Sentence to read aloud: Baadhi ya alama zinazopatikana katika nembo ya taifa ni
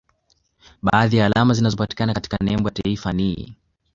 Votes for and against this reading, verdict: 2, 1, accepted